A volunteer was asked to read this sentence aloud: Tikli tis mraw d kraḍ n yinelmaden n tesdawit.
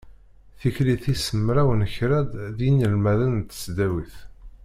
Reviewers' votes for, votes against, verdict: 1, 2, rejected